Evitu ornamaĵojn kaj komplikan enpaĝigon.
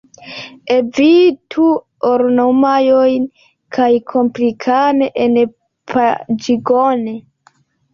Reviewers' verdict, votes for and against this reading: rejected, 0, 2